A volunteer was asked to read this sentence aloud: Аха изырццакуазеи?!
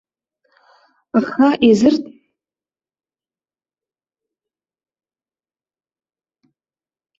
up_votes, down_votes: 0, 3